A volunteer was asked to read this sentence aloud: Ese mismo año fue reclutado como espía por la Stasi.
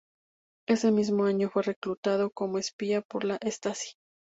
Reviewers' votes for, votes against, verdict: 0, 2, rejected